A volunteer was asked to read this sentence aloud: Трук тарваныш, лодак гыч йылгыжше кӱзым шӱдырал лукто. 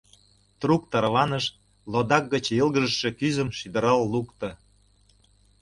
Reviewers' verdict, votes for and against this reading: accepted, 2, 0